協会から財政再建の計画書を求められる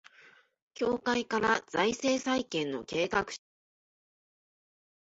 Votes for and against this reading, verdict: 3, 7, rejected